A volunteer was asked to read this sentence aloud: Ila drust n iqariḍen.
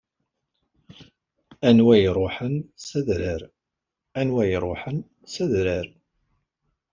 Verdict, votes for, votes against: rejected, 0, 2